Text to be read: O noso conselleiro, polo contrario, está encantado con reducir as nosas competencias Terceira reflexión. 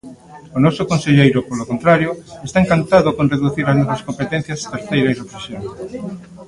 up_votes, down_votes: 1, 2